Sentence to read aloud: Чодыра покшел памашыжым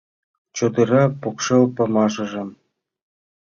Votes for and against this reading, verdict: 2, 0, accepted